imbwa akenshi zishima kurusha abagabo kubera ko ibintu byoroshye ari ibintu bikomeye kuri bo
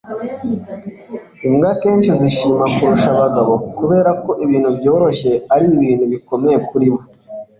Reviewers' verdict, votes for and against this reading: accepted, 2, 0